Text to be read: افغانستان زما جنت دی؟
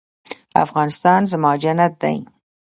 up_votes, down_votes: 0, 2